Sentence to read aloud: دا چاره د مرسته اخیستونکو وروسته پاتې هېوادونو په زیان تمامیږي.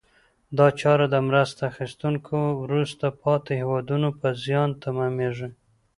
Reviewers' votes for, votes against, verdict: 2, 0, accepted